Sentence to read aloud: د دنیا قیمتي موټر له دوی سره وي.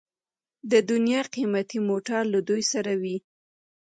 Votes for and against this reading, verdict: 2, 0, accepted